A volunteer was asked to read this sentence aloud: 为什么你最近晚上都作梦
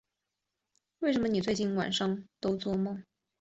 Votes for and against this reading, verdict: 2, 1, accepted